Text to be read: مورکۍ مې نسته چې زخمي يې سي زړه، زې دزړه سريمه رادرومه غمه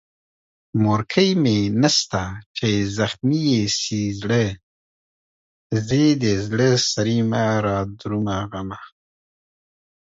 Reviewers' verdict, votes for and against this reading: rejected, 1, 2